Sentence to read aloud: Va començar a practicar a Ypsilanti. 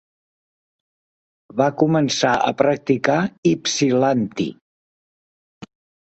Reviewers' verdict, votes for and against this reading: rejected, 0, 2